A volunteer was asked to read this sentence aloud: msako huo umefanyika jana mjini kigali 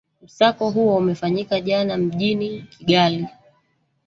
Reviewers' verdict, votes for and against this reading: rejected, 1, 2